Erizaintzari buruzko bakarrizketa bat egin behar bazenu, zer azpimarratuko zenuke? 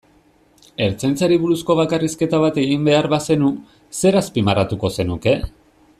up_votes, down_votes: 1, 2